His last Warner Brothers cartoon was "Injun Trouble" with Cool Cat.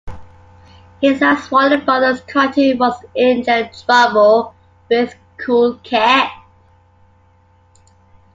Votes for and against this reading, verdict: 2, 0, accepted